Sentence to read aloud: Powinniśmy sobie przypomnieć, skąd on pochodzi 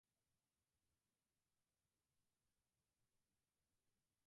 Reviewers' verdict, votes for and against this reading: rejected, 0, 4